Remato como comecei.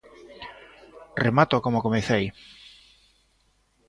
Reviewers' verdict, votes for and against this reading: accepted, 2, 0